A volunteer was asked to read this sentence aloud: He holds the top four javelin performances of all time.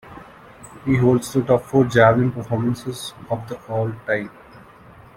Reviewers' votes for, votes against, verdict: 1, 2, rejected